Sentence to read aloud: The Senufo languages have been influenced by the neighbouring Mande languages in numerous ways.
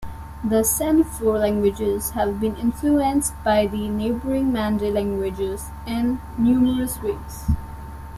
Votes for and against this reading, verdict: 2, 0, accepted